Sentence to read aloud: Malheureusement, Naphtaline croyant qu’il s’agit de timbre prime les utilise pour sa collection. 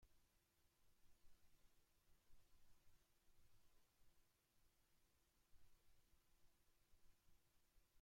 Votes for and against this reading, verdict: 0, 2, rejected